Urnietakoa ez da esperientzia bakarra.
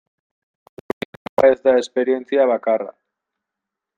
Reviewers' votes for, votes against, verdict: 0, 2, rejected